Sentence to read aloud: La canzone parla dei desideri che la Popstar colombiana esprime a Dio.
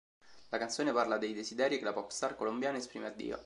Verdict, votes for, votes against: accepted, 2, 0